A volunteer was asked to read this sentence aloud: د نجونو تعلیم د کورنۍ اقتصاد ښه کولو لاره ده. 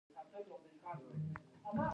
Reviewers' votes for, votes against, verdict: 1, 2, rejected